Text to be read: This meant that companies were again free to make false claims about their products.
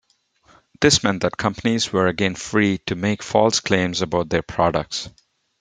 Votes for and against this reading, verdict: 2, 0, accepted